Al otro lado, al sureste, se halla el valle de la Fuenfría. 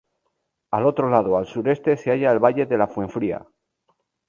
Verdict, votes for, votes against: accepted, 2, 0